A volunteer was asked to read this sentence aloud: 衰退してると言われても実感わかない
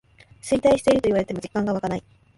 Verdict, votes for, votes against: accepted, 2, 1